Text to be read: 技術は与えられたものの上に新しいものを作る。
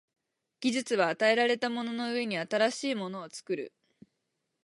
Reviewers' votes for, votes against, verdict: 6, 0, accepted